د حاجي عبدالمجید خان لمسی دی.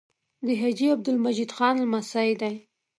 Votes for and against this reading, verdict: 2, 0, accepted